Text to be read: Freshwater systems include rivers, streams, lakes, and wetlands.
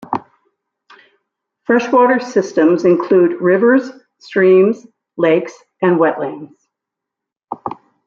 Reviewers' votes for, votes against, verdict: 2, 0, accepted